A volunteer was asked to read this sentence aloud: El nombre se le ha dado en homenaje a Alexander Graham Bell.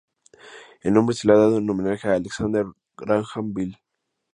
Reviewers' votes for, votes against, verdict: 2, 0, accepted